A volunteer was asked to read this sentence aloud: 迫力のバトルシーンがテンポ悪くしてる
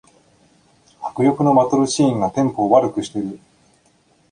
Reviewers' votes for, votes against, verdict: 0, 2, rejected